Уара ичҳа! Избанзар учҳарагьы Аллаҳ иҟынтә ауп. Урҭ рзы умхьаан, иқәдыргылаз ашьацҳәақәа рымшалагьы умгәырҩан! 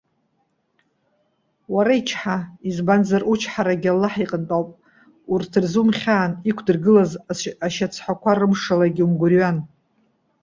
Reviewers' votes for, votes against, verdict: 0, 2, rejected